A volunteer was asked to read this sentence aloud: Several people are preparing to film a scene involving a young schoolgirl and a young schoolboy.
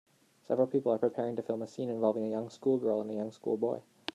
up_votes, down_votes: 2, 0